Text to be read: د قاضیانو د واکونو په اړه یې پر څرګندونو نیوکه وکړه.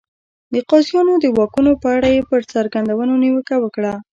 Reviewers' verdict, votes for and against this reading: rejected, 1, 2